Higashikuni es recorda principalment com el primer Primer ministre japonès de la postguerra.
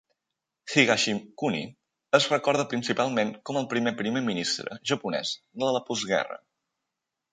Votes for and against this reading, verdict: 2, 0, accepted